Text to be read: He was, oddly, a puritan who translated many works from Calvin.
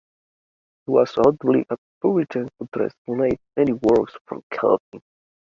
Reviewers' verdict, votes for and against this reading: rejected, 0, 2